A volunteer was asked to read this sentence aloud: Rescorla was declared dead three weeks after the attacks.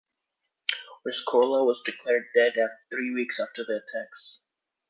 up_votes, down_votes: 2, 1